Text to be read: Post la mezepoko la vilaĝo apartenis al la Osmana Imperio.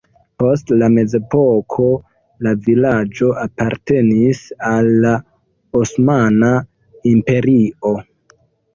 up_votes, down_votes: 0, 2